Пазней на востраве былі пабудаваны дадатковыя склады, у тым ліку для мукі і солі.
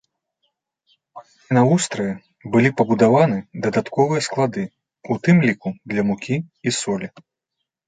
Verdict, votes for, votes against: rejected, 1, 2